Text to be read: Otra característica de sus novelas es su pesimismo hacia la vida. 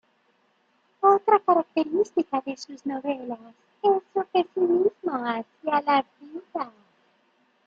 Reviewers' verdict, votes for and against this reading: rejected, 0, 2